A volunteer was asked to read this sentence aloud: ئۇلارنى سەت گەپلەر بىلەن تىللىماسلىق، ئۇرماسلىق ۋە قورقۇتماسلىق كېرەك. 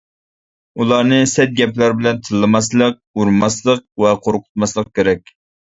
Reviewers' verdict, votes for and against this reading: accepted, 2, 0